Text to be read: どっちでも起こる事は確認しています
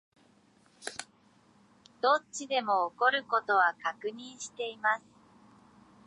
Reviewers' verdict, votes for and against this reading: rejected, 2, 3